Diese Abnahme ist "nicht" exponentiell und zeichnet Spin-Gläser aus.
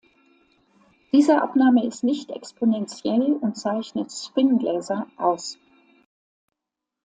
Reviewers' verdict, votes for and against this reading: accepted, 2, 0